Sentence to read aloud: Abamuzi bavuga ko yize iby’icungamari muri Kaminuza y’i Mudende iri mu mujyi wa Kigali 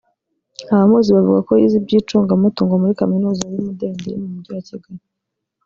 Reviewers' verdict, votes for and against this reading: rejected, 1, 2